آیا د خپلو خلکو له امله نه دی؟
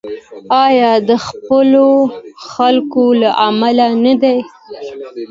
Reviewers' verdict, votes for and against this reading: accepted, 2, 0